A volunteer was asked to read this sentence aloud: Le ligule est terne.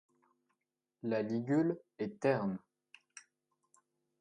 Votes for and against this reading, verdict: 1, 2, rejected